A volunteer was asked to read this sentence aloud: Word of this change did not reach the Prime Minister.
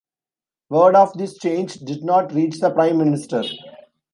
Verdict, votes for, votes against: accepted, 2, 0